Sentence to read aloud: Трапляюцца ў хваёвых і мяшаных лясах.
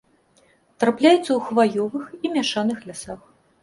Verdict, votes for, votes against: accepted, 2, 0